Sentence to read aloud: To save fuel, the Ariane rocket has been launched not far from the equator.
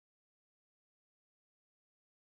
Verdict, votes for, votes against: rejected, 0, 2